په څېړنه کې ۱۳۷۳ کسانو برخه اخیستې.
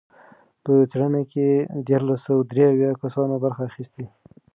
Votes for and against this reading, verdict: 0, 2, rejected